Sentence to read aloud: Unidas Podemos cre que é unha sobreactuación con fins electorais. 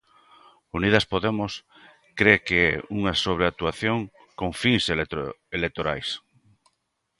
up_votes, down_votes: 0, 2